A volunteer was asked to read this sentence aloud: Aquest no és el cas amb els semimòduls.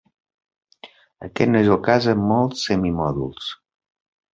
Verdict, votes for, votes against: rejected, 1, 2